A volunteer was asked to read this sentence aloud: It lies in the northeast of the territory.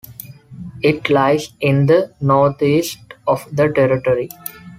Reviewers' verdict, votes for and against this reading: accepted, 2, 0